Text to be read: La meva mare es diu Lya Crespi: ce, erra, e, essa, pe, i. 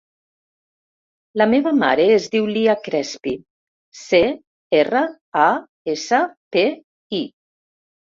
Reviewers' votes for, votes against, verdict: 1, 2, rejected